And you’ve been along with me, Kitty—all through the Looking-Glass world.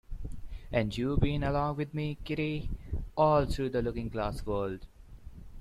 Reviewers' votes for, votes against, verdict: 2, 0, accepted